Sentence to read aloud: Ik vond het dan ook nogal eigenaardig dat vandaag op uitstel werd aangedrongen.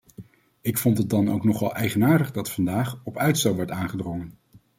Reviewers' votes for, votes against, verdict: 2, 0, accepted